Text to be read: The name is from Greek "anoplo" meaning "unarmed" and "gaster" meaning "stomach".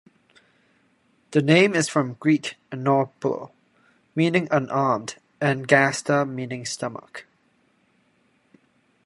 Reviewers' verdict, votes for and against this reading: rejected, 1, 2